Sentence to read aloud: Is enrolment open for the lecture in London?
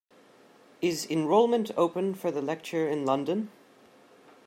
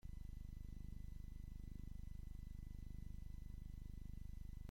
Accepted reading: first